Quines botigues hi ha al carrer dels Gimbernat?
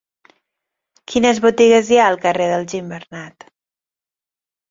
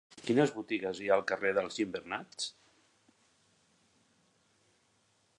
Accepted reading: first